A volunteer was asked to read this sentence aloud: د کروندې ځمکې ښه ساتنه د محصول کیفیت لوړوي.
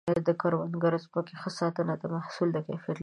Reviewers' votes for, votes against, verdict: 1, 2, rejected